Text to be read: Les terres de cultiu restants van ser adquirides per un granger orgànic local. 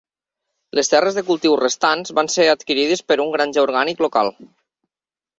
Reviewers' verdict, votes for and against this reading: accepted, 3, 0